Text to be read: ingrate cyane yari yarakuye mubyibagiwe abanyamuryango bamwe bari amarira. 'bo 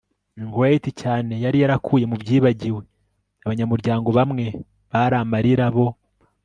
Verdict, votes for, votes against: rejected, 1, 2